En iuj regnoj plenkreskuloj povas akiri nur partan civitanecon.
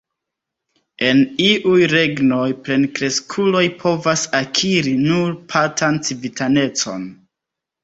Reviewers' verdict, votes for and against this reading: rejected, 1, 2